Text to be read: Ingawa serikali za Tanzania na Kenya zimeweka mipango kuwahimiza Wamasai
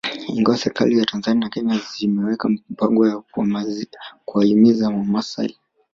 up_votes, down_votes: 1, 2